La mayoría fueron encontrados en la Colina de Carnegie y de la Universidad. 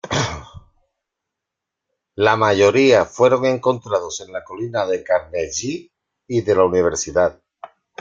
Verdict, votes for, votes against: accepted, 2, 1